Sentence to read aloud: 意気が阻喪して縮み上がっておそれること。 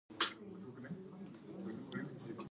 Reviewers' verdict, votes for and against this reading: accepted, 2, 1